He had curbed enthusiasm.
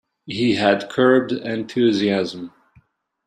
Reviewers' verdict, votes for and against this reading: accepted, 2, 0